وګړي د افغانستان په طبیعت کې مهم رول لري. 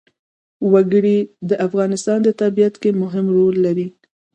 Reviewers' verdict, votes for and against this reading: accepted, 2, 0